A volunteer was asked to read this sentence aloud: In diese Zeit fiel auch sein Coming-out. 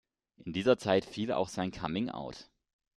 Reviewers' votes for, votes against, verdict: 0, 2, rejected